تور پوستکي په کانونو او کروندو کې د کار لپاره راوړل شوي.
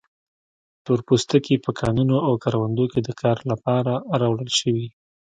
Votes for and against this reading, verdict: 2, 1, accepted